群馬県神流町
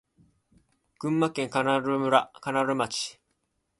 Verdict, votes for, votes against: accepted, 2, 0